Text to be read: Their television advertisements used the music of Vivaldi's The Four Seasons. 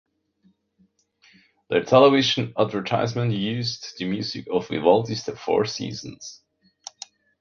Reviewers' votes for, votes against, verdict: 1, 2, rejected